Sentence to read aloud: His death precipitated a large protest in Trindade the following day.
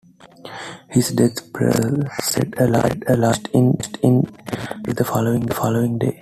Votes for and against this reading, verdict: 1, 2, rejected